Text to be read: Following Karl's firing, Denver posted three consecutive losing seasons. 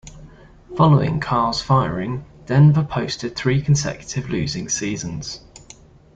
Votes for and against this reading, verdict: 2, 0, accepted